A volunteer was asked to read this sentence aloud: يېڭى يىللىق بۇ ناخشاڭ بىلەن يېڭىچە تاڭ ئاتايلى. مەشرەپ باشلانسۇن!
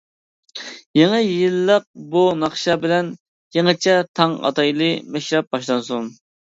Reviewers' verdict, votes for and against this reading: rejected, 1, 2